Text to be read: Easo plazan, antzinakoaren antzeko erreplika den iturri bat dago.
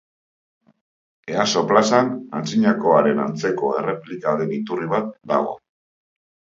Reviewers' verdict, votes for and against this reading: accepted, 2, 0